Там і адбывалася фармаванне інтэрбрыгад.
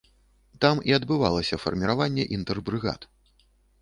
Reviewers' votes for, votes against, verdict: 1, 3, rejected